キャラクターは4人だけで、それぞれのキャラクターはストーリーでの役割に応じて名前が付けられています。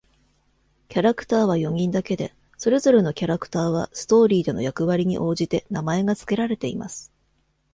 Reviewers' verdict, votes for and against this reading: rejected, 0, 2